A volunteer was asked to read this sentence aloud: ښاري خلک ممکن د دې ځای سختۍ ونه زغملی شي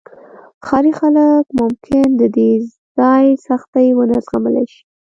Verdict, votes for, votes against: rejected, 0, 2